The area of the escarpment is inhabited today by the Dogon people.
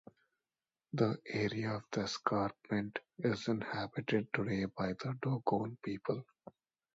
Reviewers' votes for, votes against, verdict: 2, 0, accepted